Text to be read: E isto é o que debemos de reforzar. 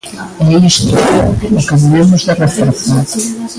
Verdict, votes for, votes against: rejected, 0, 2